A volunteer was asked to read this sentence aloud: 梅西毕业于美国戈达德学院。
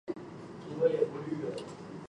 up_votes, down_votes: 0, 4